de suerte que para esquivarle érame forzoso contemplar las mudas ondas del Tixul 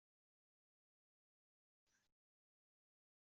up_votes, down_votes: 0, 2